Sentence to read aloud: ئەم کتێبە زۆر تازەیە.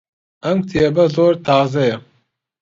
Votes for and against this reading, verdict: 2, 0, accepted